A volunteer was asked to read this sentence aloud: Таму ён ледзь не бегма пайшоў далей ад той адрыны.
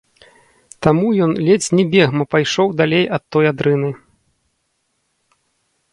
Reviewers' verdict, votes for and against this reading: rejected, 0, 2